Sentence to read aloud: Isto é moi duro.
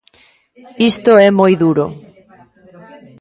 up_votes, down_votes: 1, 2